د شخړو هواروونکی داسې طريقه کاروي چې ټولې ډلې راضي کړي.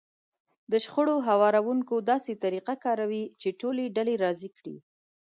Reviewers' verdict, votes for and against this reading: accepted, 2, 0